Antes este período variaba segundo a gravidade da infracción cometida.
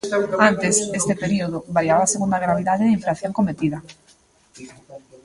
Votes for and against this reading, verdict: 0, 2, rejected